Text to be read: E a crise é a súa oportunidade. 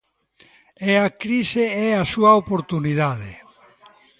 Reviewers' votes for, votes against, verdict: 1, 2, rejected